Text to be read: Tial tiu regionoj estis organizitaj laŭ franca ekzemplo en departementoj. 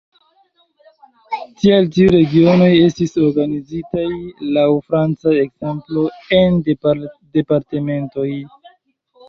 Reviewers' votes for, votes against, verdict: 2, 1, accepted